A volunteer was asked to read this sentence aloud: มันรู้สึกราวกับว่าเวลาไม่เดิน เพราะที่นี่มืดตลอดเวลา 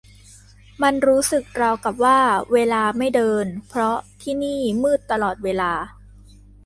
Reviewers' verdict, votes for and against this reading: accepted, 2, 0